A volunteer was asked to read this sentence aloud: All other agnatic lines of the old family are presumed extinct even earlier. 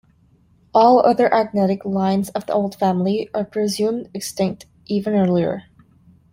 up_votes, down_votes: 2, 0